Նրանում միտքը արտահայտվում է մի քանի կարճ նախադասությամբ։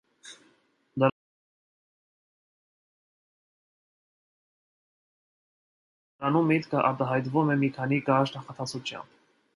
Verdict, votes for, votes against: rejected, 1, 2